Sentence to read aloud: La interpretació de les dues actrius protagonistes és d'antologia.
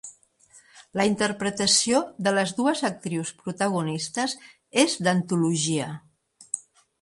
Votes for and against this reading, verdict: 3, 0, accepted